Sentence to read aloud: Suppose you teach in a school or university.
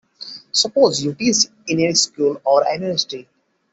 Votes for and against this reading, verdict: 0, 2, rejected